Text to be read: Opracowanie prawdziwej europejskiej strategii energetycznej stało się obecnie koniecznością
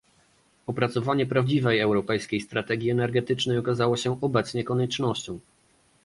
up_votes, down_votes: 0, 2